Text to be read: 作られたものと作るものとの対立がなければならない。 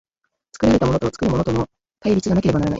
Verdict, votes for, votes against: rejected, 0, 2